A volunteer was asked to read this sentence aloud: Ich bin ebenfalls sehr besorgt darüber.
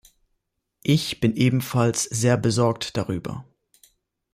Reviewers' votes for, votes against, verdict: 3, 0, accepted